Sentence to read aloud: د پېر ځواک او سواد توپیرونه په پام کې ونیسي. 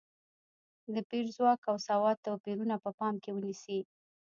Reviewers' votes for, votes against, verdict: 1, 2, rejected